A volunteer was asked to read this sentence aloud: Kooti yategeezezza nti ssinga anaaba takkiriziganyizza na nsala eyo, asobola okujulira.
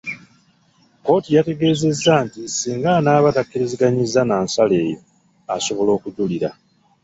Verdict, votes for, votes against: rejected, 0, 2